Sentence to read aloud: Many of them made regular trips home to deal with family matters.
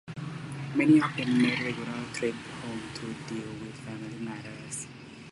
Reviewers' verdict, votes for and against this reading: rejected, 0, 2